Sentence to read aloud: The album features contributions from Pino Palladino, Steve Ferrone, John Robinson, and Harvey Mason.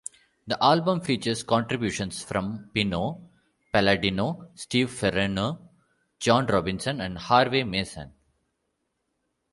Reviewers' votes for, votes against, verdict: 1, 2, rejected